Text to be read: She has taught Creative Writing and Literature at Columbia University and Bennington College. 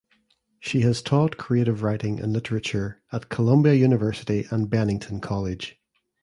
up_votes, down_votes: 2, 0